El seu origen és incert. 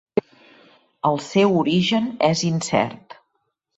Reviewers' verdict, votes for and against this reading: accepted, 3, 0